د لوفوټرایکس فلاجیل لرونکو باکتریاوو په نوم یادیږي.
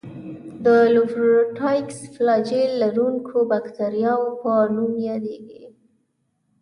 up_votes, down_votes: 0, 2